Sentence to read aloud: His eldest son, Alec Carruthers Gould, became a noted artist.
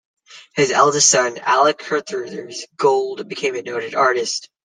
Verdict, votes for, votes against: rejected, 1, 2